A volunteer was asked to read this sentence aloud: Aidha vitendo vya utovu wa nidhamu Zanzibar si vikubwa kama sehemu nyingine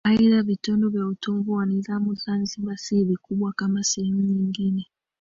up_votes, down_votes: 0, 2